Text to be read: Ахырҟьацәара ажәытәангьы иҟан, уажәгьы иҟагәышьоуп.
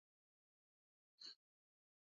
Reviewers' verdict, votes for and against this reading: rejected, 0, 2